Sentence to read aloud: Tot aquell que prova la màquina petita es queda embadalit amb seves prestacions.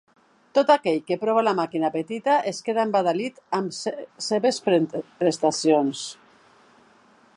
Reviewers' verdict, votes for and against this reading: rejected, 0, 2